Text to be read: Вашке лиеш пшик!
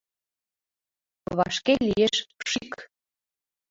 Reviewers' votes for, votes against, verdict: 2, 1, accepted